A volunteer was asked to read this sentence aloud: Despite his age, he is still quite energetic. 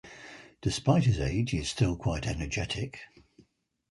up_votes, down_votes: 4, 2